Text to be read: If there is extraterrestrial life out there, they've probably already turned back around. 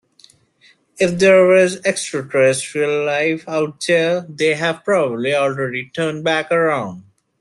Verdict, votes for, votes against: rejected, 0, 2